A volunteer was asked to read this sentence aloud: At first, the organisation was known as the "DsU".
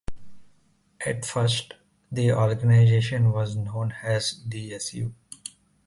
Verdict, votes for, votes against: accepted, 2, 0